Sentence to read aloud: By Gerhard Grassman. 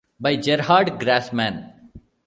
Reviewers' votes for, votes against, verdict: 0, 2, rejected